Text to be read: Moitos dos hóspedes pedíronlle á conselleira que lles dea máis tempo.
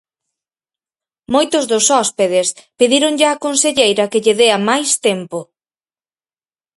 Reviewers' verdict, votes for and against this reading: rejected, 0, 4